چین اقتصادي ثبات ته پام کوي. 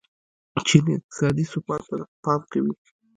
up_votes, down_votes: 1, 2